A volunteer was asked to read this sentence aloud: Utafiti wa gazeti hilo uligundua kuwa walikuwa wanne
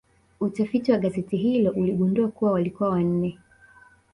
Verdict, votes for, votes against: accepted, 3, 1